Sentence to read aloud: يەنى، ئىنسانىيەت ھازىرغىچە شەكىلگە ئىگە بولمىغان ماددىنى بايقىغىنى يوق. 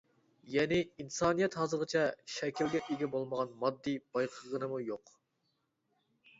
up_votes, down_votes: 0, 2